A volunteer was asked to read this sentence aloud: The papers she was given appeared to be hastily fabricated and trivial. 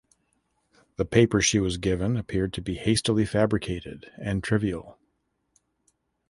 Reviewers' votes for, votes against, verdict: 2, 0, accepted